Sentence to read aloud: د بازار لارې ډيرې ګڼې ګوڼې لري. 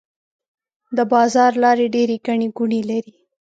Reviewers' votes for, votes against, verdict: 2, 0, accepted